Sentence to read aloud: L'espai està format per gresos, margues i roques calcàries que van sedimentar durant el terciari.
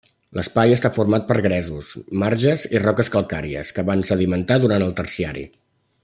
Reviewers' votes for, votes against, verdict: 0, 2, rejected